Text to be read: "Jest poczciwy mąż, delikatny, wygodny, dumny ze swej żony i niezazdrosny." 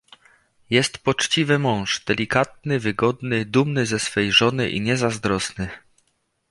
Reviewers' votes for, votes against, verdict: 2, 0, accepted